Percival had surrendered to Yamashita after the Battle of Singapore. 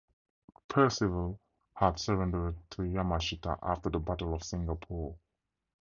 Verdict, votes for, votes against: accepted, 2, 0